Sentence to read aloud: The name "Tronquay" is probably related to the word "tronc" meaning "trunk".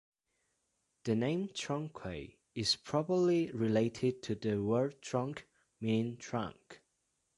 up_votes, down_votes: 2, 0